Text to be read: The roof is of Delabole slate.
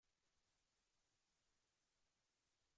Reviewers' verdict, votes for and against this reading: rejected, 1, 2